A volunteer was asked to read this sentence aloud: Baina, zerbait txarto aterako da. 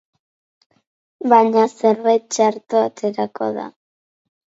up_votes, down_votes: 8, 0